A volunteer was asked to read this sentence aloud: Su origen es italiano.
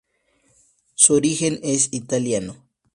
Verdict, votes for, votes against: accepted, 2, 0